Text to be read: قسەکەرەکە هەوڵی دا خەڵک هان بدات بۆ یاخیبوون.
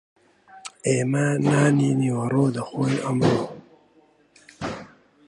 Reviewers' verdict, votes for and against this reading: rejected, 0, 2